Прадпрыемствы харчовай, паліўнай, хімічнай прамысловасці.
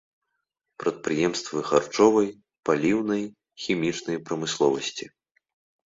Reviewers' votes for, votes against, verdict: 3, 2, accepted